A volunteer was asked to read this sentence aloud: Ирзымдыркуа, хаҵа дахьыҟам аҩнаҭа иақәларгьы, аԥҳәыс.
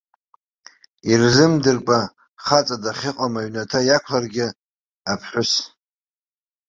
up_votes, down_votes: 1, 2